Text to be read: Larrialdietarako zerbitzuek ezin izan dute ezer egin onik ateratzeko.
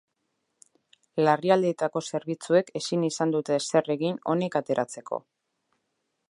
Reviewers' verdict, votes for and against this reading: rejected, 0, 2